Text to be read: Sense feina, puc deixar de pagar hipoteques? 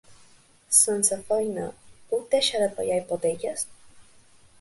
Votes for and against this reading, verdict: 2, 0, accepted